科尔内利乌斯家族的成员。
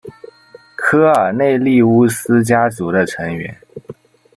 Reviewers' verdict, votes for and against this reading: rejected, 0, 2